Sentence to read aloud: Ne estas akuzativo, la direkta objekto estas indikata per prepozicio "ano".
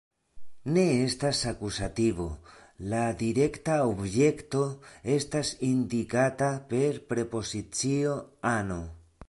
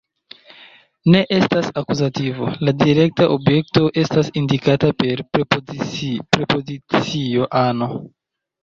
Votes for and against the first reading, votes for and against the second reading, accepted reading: 2, 1, 0, 2, first